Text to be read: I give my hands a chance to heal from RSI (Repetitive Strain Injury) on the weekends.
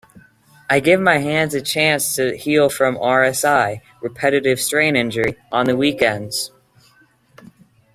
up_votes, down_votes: 2, 0